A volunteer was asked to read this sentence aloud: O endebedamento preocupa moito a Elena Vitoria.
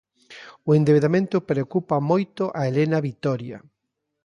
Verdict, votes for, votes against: accepted, 2, 0